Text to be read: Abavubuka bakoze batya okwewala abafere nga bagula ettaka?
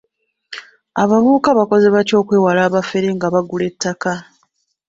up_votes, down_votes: 0, 2